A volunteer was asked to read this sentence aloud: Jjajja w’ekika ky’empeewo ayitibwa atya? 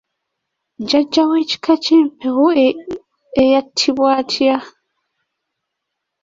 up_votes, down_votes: 0, 2